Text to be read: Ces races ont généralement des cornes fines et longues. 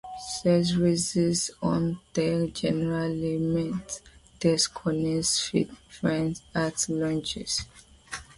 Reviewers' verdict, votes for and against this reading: rejected, 1, 2